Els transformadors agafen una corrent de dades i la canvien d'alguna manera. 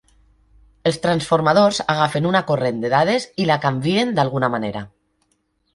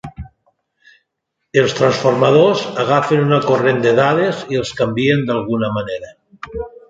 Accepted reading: first